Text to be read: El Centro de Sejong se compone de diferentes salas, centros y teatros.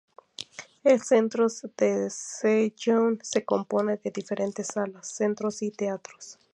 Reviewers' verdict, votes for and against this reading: rejected, 0, 2